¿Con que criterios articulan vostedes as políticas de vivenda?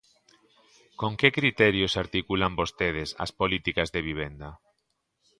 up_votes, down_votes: 2, 0